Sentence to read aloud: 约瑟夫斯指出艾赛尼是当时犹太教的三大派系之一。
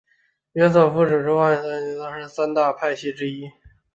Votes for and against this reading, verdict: 0, 3, rejected